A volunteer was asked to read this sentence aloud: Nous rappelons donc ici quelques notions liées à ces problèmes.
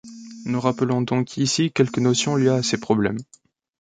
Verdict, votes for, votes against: accepted, 2, 1